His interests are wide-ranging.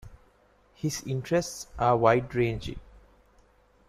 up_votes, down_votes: 2, 0